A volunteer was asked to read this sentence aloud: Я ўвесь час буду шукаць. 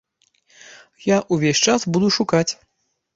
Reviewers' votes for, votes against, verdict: 2, 0, accepted